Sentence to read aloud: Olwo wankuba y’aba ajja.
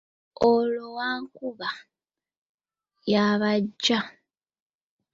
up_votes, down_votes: 2, 0